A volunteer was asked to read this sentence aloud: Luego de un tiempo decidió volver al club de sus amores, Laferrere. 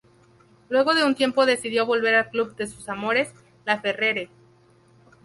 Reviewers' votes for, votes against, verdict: 2, 0, accepted